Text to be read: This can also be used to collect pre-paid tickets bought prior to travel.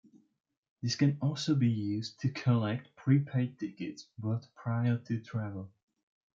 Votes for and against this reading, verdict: 0, 2, rejected